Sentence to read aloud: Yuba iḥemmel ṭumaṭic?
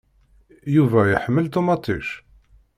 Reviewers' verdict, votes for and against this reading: accepted, 2, 0